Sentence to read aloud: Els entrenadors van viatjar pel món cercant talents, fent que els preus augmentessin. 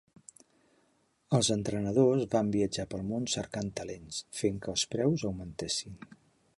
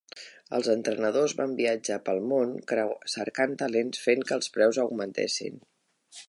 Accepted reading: first